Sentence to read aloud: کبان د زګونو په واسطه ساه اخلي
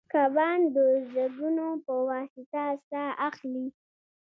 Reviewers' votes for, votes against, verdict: 2, 0, accepted